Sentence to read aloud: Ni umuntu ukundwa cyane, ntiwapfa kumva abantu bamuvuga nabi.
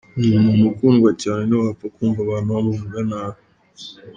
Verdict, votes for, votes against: rejected, 0, 2